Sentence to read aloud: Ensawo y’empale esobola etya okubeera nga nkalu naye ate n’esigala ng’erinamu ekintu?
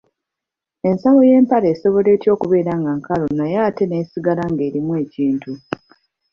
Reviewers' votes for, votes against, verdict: 1, 2, rejected